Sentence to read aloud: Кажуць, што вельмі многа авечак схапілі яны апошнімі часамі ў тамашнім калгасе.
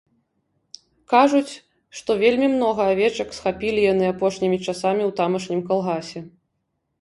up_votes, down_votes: 2, 0